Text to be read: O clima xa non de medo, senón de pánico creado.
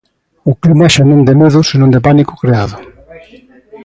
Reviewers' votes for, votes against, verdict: 2, 0, accepted